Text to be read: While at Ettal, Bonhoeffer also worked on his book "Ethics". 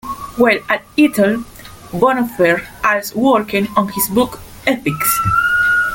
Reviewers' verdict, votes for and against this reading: rejected, 0, 2